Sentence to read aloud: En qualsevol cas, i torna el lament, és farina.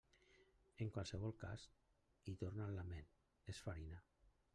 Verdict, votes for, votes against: rejected, 1, 2